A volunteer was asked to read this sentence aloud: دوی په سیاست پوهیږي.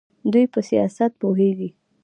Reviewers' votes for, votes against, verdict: 2, 0, accepted